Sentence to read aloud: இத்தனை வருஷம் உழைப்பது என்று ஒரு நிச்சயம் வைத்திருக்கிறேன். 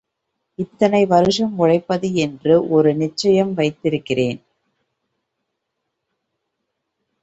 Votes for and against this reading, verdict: 1, 2, rejected